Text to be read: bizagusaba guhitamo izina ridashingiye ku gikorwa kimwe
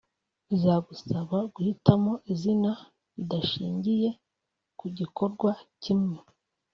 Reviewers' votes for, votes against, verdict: 2, 0, accepted